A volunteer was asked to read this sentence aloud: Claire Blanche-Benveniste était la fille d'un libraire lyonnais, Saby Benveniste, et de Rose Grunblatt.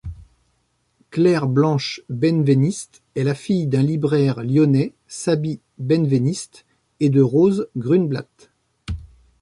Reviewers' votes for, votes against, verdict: 2, 3, rejected